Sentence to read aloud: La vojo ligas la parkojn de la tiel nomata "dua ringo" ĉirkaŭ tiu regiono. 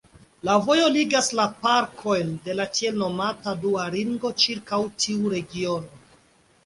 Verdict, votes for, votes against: accepted, 2, 0